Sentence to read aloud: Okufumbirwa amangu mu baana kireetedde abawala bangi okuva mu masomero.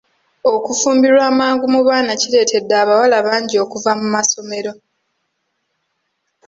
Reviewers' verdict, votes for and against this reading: accepted, 2, 1